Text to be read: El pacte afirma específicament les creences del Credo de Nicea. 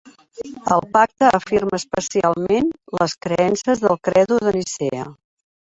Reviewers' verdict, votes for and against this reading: rejected, 0, 2